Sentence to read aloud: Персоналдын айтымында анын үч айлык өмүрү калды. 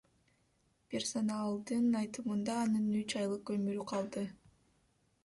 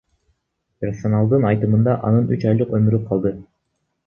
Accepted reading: first